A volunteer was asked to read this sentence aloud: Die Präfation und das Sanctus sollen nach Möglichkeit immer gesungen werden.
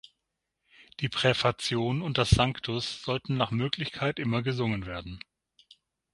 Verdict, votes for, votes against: rejected, 3, 6